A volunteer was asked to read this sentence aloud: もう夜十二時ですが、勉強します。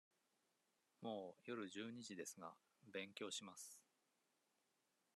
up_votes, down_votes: 2, 0